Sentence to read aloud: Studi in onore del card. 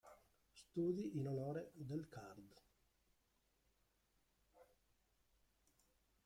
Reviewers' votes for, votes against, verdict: 0, 2, rejected